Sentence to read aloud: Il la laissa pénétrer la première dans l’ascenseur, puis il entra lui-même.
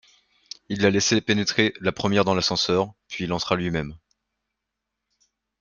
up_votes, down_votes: 0, 2